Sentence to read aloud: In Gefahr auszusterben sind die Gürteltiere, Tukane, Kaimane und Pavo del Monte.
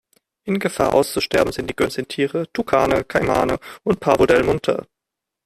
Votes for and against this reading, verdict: 1, 2, rejected